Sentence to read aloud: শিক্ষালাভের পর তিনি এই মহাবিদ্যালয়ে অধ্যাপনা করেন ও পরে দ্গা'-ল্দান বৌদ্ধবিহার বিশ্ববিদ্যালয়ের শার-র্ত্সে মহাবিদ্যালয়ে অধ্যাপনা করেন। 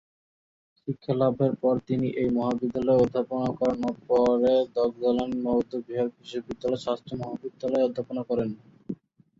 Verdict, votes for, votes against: rejected, 2, 2